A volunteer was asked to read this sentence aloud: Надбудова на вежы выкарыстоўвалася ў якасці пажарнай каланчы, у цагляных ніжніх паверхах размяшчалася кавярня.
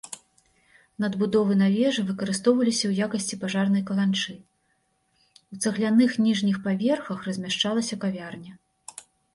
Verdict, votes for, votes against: rejected, 1, 2